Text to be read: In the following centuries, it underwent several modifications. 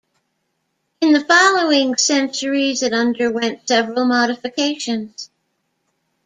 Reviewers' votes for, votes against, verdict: 0, 2, rejected